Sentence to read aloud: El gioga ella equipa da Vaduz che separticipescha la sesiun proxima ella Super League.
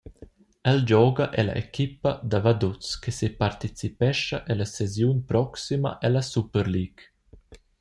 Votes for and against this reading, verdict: 1, 2, rejected